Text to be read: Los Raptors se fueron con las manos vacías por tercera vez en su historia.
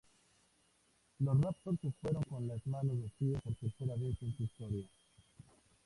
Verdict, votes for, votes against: accepted, 2, 0